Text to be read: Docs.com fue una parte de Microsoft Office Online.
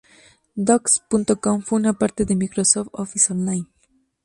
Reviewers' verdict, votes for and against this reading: rejected, 0, 2